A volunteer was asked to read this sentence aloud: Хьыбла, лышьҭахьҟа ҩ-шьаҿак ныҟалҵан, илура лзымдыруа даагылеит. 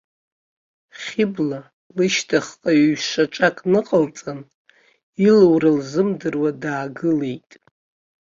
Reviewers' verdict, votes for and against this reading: accepted, 2, 0